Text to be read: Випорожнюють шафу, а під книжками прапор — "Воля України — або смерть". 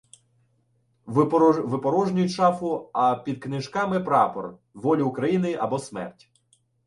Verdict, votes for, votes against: rejected, 0, 2